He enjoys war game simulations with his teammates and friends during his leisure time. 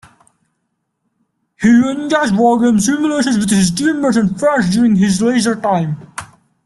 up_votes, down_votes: 1, 2